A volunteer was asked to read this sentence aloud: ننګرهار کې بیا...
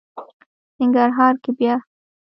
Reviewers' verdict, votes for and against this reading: accepted, 2, 0